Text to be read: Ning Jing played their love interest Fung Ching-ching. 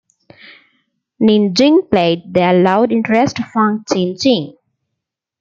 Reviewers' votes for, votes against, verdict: 2, 1, accepted